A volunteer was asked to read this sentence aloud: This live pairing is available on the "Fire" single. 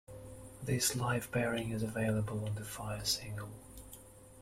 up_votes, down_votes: 2, 0